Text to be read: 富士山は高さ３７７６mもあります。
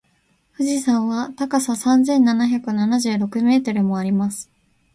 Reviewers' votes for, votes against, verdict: 0, 2, rejected